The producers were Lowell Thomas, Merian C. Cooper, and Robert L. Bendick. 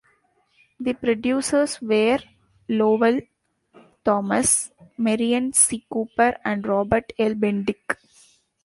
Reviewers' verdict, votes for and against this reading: accepted, 2, 0